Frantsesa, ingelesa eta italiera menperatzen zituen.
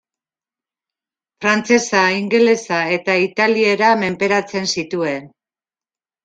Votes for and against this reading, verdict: 2, 0, accepted